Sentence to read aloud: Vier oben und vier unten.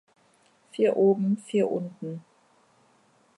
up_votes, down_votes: 0, 2